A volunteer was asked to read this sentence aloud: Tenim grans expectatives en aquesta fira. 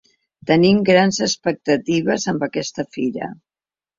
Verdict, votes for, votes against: rejected, 0, 2